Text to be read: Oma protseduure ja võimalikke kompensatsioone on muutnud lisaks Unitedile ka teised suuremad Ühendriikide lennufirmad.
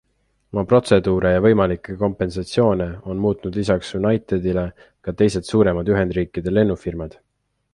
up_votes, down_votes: 2, 0